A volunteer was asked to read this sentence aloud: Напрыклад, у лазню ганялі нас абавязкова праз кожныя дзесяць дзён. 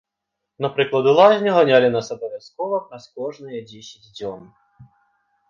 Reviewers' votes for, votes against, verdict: 2, 0, accepted